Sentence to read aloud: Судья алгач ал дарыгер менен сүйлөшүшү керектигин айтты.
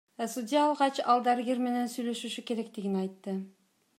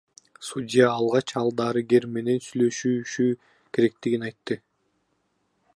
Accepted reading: first